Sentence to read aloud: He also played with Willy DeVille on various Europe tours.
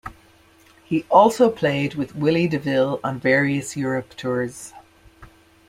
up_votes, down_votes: 2, 0